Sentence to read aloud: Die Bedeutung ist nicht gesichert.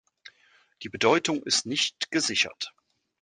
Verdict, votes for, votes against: accepted, 2, 1